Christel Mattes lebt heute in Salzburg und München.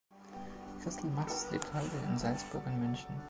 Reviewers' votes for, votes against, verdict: 2, 0, accepted